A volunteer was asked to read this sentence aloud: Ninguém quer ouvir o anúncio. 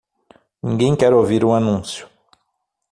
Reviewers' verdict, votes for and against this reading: accepted, 6, 0